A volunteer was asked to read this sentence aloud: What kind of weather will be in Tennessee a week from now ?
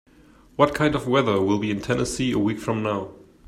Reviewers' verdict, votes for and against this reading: accepted, 2, 0